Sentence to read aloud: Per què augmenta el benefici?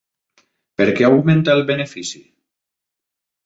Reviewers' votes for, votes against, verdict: 3, 0, accepted